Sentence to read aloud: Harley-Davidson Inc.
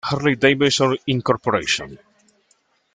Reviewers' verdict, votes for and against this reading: accepted, 2, 1